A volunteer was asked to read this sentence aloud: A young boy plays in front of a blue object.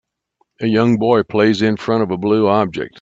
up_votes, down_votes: 2, 0